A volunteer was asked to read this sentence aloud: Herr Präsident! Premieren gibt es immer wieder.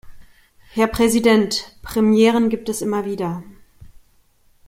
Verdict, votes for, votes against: accepted, 2, 0